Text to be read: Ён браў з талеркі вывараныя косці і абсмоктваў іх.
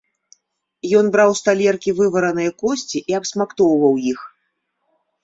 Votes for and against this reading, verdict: 0, 2, rejected